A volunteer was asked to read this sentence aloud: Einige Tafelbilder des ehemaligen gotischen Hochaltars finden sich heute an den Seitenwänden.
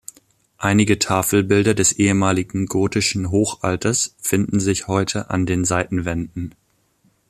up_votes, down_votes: 0, 2